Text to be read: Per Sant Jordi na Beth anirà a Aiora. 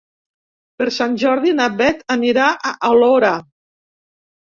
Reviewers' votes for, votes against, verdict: 1, 2, rejected